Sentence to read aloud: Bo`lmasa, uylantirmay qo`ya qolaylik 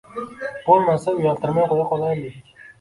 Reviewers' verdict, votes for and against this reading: rejected, 0, 2